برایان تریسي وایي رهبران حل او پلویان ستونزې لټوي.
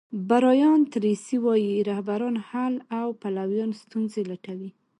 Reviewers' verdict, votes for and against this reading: accepted, 2, 1